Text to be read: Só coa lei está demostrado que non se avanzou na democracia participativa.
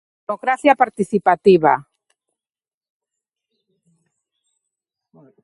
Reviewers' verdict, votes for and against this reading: rejected, 0, 2